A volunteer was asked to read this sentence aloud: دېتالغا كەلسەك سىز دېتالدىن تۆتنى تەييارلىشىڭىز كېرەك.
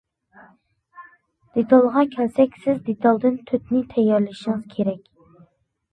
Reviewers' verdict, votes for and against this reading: accepted, 2, 1